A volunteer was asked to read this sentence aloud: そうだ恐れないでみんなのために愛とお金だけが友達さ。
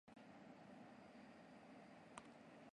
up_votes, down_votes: 0, 2